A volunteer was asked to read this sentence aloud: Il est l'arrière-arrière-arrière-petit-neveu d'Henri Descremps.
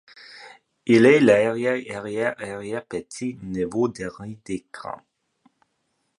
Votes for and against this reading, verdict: 1, 3, rejected